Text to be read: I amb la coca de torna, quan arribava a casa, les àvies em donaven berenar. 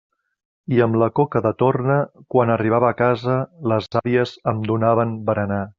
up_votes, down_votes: 0, 2